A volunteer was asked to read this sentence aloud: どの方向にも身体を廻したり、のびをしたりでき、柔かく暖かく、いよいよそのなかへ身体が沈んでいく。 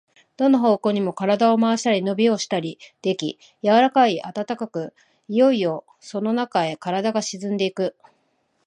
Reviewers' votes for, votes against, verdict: 0, 2, rejected